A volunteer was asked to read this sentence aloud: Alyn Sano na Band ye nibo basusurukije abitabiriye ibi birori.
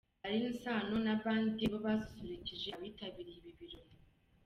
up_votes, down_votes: 1, 2